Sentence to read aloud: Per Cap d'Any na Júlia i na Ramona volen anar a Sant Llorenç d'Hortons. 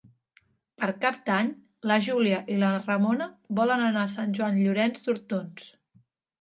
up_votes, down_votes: 1, 2